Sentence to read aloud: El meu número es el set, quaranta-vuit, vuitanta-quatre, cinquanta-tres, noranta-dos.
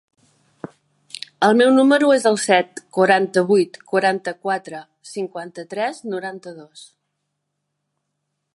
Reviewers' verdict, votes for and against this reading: rejected, 0, 2